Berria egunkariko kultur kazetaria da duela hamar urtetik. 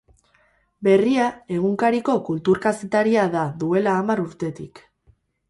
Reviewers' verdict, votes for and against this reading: rejected, 2, 2